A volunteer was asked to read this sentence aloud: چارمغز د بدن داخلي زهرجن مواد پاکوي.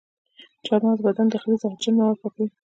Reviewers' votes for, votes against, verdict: 2, 0, accepted